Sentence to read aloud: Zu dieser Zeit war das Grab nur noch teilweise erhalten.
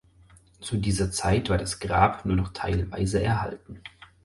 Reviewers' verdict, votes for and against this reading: accepted, 4, 0